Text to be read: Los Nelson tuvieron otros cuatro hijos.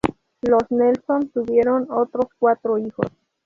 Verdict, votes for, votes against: accepted, 2, 0